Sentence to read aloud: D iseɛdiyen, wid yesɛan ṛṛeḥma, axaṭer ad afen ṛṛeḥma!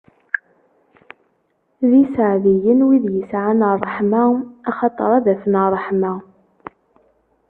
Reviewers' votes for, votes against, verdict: 2, 0, accepted